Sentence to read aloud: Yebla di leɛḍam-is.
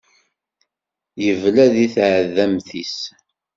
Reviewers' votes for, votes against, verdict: 1, 2, rejected